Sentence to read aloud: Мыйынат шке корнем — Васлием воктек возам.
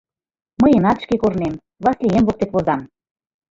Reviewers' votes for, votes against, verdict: 2, 1, accepted